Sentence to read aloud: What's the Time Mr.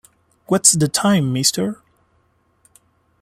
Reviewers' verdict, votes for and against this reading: accepted, 2, 0